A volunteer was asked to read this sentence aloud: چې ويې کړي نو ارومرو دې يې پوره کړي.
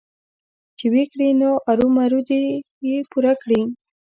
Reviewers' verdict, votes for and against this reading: accepted, 2, 0